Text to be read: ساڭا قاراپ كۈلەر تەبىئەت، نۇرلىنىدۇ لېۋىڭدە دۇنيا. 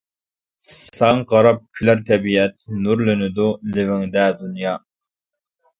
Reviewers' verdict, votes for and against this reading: accepted, 2, 0